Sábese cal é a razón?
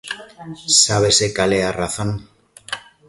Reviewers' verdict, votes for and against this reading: rejected, 1, 2